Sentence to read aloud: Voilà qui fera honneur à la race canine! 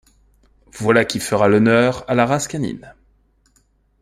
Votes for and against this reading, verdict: 1, 2, rejected